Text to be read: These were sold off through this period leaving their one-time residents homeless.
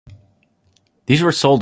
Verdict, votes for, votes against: rejected, 0, 2